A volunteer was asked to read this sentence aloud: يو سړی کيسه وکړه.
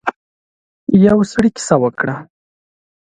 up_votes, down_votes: 4, 0